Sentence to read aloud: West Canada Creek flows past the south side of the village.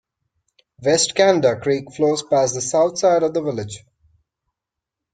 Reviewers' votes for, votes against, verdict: 1, 2, rejected